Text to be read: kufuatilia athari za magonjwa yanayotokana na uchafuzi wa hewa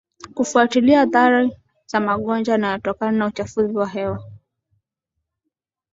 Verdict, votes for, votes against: rejected, 1, 2